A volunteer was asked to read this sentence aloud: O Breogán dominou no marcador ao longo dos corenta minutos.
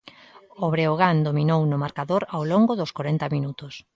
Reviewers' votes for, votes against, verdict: 2, 0, accepted